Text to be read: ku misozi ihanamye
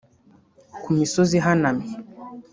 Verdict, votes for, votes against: accepted, 2, 0